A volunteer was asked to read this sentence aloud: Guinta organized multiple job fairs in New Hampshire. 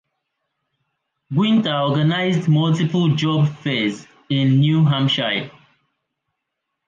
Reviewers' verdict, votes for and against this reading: rejected, 0, 2